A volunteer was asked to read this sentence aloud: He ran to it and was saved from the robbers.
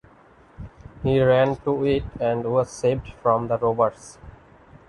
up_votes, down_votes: 2, 1